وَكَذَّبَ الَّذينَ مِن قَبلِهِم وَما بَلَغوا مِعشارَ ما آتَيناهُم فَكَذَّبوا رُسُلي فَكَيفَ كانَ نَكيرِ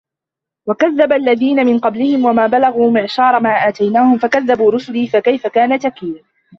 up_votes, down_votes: 0, 2